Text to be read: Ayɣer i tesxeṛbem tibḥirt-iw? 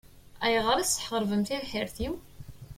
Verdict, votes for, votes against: rejected, 0, 2